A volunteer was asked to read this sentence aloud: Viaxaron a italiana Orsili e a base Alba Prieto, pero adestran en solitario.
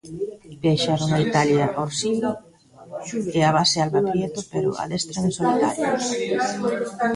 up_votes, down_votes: 0, 2